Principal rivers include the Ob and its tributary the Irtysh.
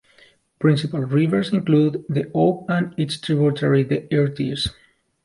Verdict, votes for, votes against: accepted, 2, 0